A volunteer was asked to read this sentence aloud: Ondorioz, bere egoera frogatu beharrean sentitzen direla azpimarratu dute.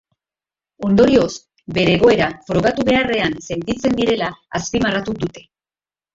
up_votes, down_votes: 2, 0